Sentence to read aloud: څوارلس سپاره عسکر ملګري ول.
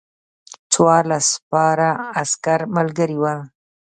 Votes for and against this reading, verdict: 3, 0, accepted